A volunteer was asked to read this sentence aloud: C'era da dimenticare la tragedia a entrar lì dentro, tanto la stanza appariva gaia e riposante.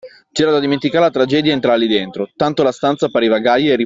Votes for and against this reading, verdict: 0, 2, rejected